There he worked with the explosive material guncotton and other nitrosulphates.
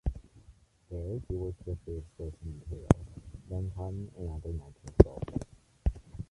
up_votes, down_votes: 0, 2